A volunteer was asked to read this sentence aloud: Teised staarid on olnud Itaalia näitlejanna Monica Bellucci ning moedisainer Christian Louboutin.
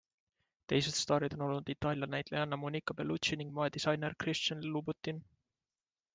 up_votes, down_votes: 2, 0